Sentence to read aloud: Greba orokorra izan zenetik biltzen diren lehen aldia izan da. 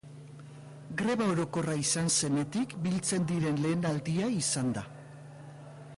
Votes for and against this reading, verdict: 2, 0, accepted